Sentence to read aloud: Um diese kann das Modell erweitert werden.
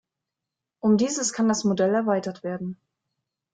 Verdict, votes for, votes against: rejected, 1, 2